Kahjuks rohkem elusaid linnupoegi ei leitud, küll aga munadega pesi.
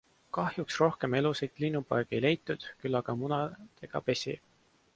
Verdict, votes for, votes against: accepted, 2, 0